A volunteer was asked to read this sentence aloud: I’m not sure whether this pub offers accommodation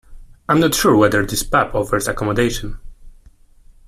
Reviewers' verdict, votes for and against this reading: accepted, 2, 1